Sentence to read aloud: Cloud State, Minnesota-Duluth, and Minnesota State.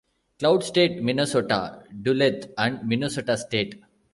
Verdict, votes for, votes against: accepted, 2, 1